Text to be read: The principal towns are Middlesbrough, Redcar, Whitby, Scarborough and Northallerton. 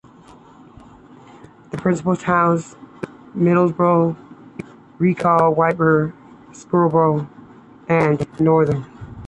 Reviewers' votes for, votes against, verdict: 1, 2, rejected